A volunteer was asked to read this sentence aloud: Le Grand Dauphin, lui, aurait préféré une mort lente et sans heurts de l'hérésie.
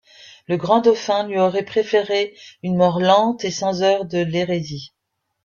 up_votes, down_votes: 0, 2